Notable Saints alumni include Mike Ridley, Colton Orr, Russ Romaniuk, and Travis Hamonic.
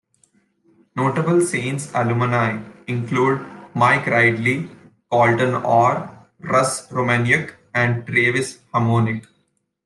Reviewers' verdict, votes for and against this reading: rejected, 1, 2